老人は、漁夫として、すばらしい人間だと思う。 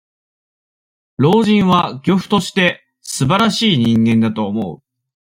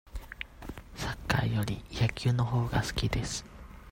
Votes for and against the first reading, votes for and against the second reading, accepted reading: 2, 0, 0, 2, first